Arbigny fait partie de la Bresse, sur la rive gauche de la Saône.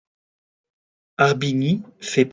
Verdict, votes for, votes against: rejected, 0, 2